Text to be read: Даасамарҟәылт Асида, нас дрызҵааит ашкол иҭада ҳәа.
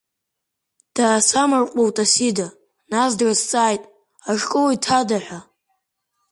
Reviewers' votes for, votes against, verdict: 3, 0, accepted